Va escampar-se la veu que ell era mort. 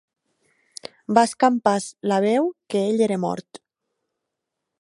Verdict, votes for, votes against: accepted, 2, 0